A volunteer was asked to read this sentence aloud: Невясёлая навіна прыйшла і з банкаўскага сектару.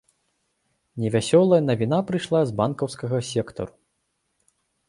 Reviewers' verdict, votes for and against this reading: rejected, 1, 2